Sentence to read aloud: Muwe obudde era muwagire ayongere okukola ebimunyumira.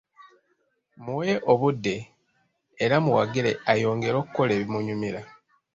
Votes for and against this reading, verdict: 1, 2, rejected